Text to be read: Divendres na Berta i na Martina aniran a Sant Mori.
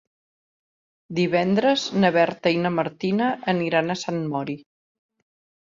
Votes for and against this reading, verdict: 3, 0, accepted